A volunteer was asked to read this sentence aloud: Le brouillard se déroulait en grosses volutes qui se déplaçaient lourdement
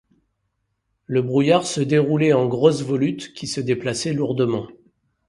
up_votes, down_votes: 2, 0